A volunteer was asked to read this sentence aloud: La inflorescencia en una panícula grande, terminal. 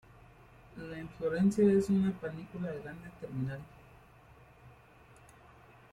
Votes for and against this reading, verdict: 0, 2, rejected